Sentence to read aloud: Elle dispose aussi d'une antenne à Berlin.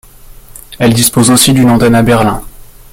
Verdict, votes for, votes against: accepted, 2, 0